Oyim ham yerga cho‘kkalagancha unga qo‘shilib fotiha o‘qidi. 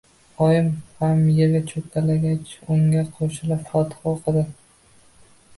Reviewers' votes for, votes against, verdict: 0, 2, rejected